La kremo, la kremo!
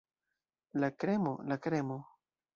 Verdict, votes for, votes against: rejected, 1, 2